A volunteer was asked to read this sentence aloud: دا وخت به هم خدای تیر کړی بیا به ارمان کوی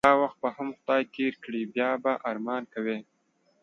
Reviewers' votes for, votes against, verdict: 2, 1, accepted